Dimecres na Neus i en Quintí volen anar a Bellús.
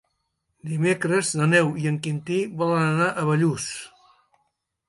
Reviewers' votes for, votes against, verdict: 3, 2, accepted